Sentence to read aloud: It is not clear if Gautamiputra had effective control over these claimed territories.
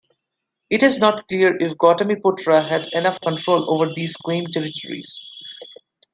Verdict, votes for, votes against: rejected, 0, 2